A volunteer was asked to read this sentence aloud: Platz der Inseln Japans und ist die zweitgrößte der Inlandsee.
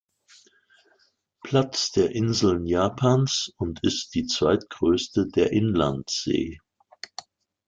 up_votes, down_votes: 2, 0